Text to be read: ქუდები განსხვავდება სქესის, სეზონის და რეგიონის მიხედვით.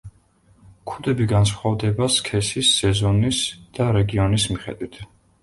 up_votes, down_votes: 2, 0